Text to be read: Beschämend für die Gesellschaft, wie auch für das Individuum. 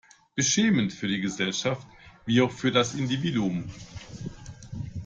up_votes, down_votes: 2, 0